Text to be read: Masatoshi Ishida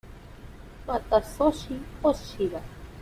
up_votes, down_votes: 0, 2